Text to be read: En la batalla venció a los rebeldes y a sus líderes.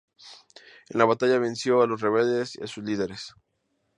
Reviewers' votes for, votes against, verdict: 0, 2, rejected